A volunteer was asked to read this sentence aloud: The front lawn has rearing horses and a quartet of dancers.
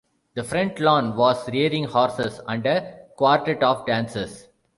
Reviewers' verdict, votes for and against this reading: rejected, 0, 2